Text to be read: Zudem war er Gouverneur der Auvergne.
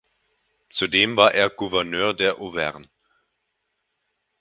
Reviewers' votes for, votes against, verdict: 2, 2, rejected